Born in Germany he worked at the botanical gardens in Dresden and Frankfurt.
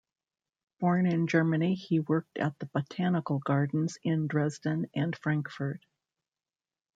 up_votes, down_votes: 1, 2